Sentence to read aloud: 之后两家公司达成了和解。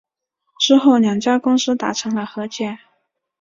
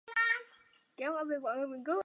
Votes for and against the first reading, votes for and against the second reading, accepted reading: 4, 0, 1, 2, first